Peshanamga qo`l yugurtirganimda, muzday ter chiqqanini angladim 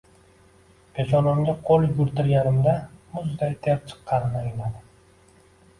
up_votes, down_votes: 2, 0